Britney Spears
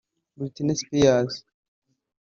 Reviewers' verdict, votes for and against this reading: rejected, 0, 2